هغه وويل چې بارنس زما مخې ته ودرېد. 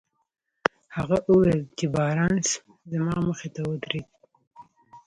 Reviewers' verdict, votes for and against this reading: rejected, 1, 2